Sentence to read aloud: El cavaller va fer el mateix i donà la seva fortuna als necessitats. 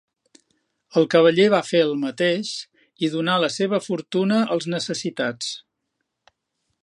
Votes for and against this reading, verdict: 2, 0, accepted